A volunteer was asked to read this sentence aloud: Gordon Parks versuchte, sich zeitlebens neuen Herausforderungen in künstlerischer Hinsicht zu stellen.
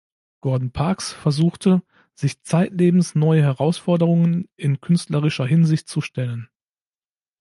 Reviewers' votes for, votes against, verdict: 0, 2, rejected